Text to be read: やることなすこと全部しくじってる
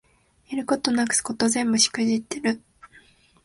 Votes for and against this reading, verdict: 2, 0, accepted